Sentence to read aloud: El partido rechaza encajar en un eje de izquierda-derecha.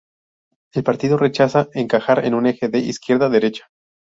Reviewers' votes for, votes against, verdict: 2, 0, accepted